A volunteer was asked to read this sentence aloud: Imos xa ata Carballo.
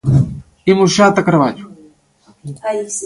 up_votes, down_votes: 1, 2